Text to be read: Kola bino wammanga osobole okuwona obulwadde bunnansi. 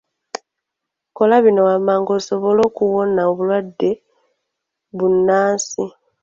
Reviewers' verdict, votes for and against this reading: rejected, 1, 2